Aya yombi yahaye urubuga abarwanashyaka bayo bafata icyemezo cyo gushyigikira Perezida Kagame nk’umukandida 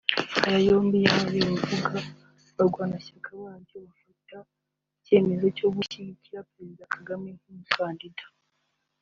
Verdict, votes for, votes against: accepted, 2, 0